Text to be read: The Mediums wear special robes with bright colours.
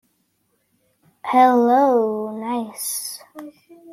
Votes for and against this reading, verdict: 0, 2, rejected